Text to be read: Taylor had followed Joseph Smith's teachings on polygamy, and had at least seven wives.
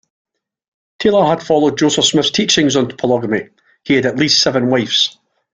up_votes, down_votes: 0, 2